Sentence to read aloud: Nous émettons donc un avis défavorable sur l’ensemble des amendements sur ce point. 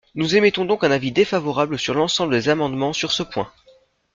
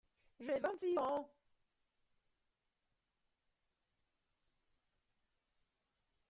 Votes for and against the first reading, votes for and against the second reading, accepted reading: 2, 0, 0, 2, first